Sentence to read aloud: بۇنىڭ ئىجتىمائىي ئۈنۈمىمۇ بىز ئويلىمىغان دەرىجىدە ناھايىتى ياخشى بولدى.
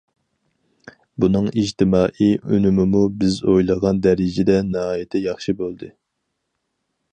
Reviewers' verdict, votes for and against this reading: rejected, 0, 4